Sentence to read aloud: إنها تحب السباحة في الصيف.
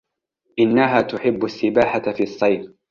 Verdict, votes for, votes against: accepted, 2, 0